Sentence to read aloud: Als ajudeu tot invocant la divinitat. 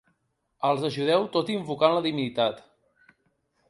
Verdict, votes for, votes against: accepted, 2, 1